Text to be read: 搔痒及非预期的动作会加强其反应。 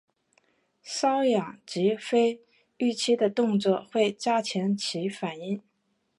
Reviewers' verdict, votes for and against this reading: rejected, 1, 2